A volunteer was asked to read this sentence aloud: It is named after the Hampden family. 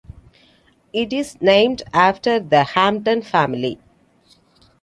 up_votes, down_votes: 2, 0